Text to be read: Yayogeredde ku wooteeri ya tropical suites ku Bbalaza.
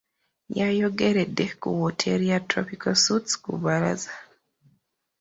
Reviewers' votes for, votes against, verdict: 2, 1, accepted